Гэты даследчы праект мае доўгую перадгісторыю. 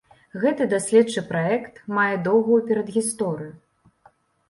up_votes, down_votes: 2, 0